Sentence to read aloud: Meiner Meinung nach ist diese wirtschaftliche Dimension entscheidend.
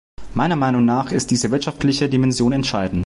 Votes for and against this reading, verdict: 0, 2, rejected